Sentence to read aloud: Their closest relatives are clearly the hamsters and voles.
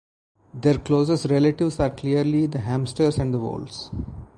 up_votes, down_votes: 4, 0